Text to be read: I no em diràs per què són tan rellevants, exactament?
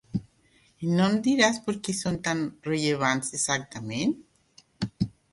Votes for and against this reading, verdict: 2, 0, accepted